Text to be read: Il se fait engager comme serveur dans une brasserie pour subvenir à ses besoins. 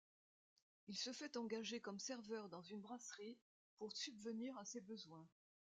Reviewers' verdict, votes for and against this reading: rejected, 0, 2